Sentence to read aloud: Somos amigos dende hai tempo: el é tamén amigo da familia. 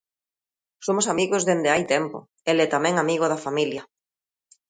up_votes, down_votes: 2, 0